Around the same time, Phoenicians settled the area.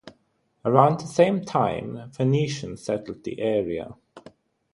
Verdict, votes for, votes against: accepted, 3, 0